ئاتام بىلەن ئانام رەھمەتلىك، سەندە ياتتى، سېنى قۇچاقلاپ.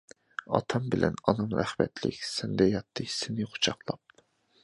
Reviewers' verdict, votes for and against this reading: accepted, 2, 1